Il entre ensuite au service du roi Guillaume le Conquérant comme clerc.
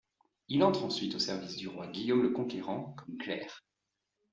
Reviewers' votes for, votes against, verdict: 2, 0, accepted